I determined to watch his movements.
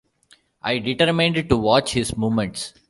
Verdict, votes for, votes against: rejected, 1, 2